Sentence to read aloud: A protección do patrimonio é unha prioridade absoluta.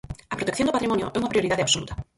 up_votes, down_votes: 0, 4